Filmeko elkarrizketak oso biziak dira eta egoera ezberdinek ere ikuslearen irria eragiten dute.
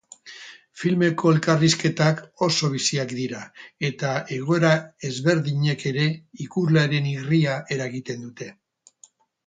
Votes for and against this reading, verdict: 2, 4, rejected